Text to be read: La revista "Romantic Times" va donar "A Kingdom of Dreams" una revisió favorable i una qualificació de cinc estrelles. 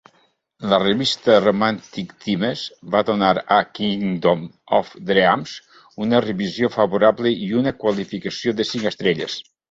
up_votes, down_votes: 1, 2